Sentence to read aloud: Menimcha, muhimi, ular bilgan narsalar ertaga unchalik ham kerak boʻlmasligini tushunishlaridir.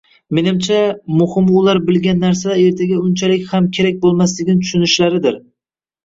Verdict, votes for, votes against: rejected, 1, 2